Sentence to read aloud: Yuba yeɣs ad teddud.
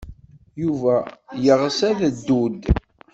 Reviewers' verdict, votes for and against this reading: rejected, 1, 2